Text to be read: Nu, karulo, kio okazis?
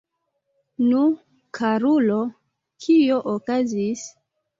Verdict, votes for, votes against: accepted, 2, 0